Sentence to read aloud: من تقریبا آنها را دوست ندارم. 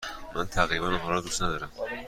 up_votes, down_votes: 2, 0